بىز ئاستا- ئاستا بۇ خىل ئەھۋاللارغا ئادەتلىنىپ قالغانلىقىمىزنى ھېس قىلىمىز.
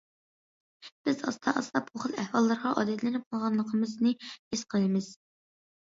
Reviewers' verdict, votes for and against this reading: accepted, 2, 0